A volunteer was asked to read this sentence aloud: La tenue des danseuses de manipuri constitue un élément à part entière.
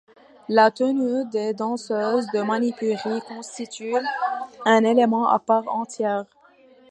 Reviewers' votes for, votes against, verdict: 2, 0, accepted